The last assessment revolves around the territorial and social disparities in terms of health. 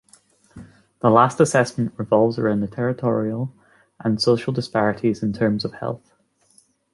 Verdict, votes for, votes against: accepted, 2, 0